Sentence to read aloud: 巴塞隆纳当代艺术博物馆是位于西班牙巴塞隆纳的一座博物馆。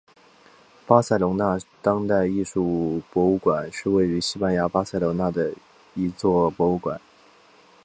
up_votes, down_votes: 4, 0